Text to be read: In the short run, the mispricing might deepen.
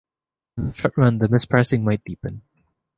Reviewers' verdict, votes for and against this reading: rejected, 1, 2